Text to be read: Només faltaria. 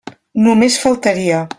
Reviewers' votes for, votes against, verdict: 3, 0, accepted